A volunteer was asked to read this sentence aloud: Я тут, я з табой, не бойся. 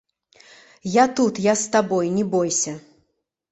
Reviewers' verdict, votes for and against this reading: accepted, 2, 0